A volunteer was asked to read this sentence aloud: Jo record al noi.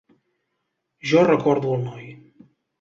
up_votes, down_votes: 1, 2